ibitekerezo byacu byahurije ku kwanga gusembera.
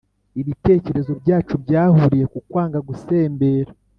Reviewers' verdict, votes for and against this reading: accepted, 2, 0